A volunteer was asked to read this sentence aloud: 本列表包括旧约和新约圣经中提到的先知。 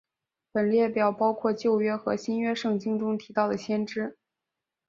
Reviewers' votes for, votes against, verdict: 5, 0, accepted